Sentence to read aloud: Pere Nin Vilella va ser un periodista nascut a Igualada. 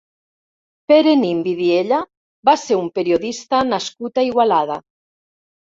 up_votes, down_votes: 0, 2